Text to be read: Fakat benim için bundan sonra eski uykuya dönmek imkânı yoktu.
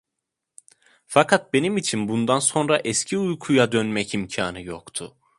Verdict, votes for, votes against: accepted, 2, 0